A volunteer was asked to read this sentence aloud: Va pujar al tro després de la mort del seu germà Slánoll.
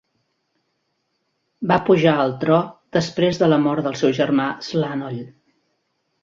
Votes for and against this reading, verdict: 2, 0, accepted